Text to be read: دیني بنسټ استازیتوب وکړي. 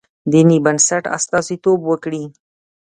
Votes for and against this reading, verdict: 1, 2, rejected